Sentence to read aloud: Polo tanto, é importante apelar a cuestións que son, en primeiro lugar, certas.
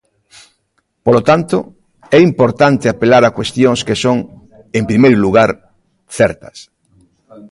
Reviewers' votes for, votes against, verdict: 2, 0, accepted